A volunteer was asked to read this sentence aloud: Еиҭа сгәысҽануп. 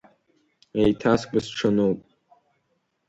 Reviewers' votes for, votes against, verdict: 2, 0, accepted